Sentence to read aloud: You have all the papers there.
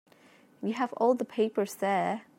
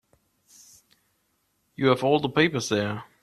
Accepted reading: second